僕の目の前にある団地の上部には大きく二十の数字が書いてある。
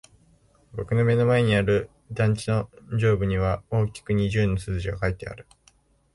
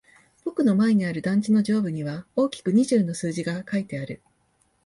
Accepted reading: first